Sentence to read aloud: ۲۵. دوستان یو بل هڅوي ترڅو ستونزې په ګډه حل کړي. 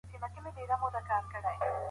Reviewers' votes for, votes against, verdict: 0, 2, rejected